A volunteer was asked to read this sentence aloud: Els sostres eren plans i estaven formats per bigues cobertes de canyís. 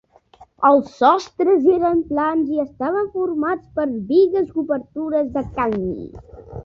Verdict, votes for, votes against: rejected, 1, 2